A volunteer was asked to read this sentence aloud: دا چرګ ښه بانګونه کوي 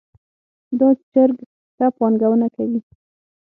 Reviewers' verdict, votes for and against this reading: rejected, 0, 6